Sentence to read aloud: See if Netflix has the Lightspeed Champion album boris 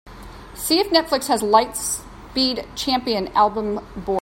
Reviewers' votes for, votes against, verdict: 0, 2, rejected